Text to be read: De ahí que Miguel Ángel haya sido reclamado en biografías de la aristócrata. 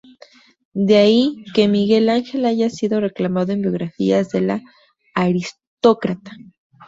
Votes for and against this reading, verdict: 4, 0, accepted